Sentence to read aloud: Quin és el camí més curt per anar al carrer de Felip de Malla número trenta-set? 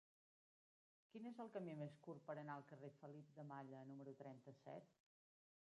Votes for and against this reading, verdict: 1, 2, rejected